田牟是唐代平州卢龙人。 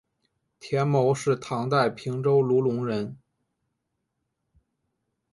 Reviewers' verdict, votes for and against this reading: accepted, 2, 0